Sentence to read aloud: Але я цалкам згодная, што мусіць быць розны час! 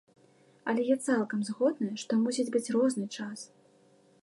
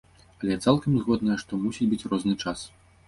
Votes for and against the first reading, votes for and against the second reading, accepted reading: 2, 1, 1, 2, first